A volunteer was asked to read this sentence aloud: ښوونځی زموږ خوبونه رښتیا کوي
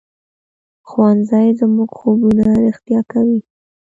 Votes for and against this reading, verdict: 2, 0, accepted